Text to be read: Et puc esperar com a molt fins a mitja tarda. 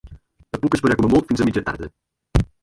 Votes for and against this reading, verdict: 0, 2, rejected